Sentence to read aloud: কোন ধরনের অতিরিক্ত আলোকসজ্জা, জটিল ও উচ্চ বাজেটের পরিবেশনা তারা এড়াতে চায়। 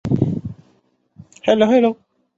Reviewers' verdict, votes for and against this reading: rejected, 1, 4